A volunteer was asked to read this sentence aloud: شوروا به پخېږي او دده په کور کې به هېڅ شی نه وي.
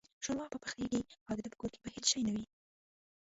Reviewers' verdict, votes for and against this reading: rejected, 0, 2